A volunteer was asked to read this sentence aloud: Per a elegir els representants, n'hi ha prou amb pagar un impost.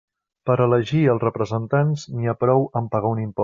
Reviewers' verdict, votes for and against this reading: rejected, 0, 2